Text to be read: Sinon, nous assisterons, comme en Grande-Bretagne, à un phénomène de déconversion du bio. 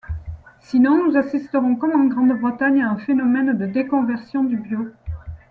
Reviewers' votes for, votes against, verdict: 2, 0, accepted